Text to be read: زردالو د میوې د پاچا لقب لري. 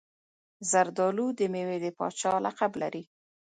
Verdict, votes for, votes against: rejected, 1, 2